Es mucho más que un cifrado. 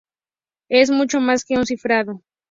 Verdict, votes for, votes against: accepted, 4, 0